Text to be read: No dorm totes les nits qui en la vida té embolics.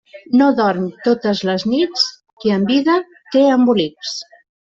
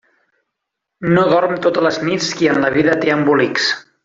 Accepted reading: second